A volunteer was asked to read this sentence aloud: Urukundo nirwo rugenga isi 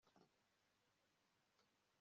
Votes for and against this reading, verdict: 1, 2, rejected